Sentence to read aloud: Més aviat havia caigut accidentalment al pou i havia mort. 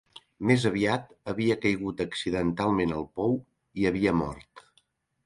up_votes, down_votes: 3, 0